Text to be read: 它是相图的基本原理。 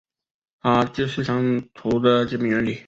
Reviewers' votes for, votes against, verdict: 1, 2, rejected